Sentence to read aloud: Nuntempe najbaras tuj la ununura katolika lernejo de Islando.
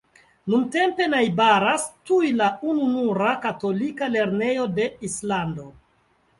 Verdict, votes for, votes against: accepted, 2, 1